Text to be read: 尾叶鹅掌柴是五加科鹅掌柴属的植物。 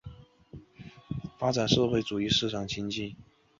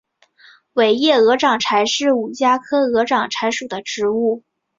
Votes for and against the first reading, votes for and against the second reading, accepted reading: 1, 3, 2, 1, second